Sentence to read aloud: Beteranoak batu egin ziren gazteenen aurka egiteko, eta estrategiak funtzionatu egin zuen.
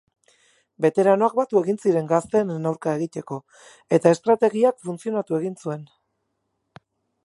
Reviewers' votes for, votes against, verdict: 4, 0, accepted